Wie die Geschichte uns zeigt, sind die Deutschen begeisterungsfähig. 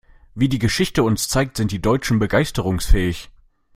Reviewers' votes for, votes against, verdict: 2, 0, accepted